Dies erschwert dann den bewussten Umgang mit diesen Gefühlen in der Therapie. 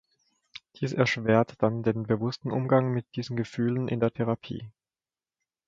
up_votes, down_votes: 3, 0